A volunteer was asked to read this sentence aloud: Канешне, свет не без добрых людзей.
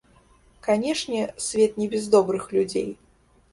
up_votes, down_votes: 1, 2